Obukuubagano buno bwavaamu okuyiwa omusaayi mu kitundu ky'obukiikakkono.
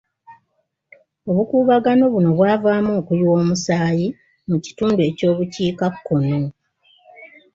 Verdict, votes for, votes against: rejected, 1, 2